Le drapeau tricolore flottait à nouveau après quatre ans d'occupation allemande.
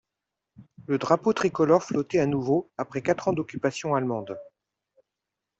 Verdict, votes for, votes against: accepted, 2, 0